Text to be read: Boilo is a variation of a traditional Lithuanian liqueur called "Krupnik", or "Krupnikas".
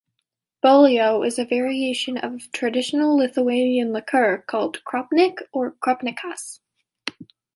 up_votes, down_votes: 1, 2